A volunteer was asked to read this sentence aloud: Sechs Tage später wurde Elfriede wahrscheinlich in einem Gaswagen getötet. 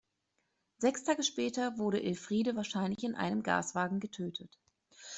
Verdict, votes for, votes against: accepted, 2, 0